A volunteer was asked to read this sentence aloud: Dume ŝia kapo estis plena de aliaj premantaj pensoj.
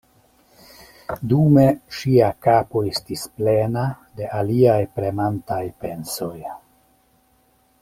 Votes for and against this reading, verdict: 2, 0, accepted